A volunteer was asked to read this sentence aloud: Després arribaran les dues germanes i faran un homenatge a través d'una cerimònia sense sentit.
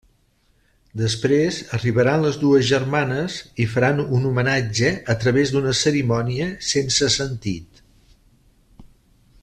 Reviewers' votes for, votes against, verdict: 3, 0, accepted